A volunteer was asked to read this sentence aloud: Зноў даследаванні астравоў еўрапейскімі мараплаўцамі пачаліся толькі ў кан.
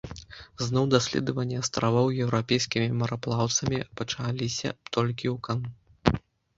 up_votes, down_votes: 1, 2